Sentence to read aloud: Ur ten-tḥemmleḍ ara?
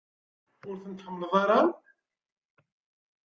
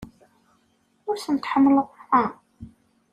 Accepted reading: second